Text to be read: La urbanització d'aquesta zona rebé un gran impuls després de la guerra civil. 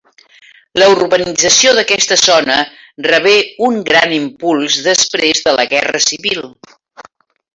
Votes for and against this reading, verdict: 3, 0, accepted